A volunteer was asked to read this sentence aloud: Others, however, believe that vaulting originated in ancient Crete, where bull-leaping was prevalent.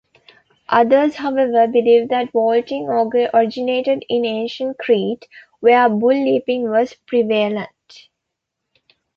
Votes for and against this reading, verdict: 0, 2, rejected